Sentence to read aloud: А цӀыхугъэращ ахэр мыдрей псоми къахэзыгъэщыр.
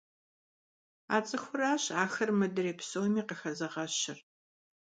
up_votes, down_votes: 0, 2